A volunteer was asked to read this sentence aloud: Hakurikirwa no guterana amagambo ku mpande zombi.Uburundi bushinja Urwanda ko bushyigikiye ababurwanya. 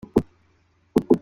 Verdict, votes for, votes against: rejected, 0, 2